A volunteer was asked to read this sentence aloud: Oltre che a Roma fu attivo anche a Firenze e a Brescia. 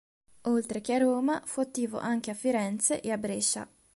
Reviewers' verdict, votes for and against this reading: accepted, 2, 0